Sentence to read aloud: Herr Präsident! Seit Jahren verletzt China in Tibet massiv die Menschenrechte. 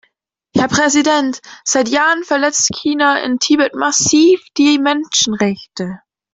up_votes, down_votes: 2, 0